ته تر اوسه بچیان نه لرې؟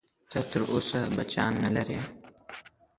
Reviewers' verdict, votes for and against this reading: rejected, 1, 2